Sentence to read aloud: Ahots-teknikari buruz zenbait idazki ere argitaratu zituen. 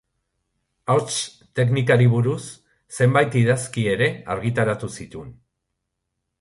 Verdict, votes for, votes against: accepted, 3, 0